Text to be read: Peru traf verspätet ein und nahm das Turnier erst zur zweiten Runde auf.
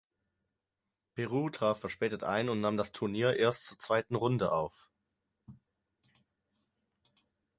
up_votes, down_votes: 0, 4